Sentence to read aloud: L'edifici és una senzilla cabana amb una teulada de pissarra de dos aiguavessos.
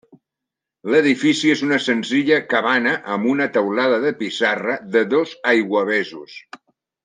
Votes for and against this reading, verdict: 0, 2, rejected